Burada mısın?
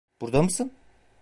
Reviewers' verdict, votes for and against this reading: rejected, 0, 2